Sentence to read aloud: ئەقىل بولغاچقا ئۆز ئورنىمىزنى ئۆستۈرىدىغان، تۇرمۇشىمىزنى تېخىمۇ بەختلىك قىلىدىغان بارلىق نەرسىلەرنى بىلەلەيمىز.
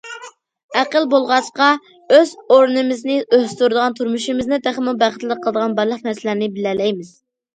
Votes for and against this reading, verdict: 2, 0, accepted